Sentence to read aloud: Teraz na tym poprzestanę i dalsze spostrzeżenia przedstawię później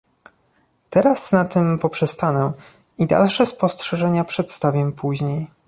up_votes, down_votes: 2, 0